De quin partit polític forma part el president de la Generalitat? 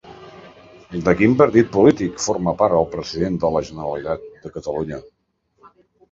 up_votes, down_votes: 0, 2